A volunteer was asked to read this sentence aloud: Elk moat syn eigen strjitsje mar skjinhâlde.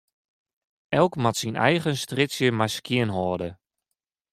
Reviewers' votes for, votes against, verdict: 2, 0, accepted